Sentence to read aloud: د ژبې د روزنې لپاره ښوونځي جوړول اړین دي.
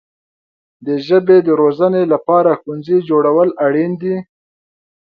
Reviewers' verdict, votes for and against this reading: accepted, 2, 0